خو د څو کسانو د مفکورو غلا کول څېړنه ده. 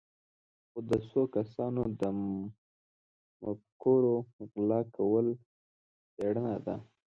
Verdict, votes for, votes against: accepted, 2, 1